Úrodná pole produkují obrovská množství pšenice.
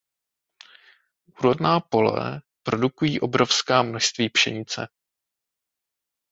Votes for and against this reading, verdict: 2, 0, accepted